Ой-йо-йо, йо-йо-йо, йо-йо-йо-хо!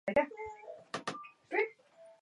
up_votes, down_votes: 0, 2